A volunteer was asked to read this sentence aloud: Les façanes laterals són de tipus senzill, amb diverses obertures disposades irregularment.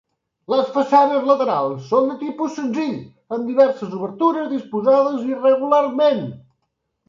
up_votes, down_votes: 3, 0